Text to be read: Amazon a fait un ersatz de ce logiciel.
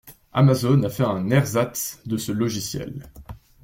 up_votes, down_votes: 2, 0